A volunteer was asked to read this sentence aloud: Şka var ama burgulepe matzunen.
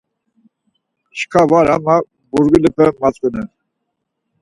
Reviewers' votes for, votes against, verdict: 2, 4, rejected